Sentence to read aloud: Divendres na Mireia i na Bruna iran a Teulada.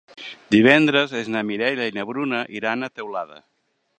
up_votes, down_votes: 0, 2